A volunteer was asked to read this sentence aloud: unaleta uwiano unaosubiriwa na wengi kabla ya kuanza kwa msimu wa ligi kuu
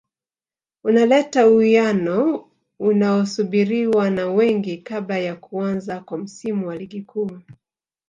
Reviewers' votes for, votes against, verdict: 1, 2, rejected